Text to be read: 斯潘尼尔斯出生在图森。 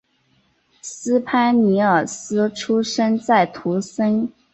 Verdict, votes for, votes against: accepted, 3, 0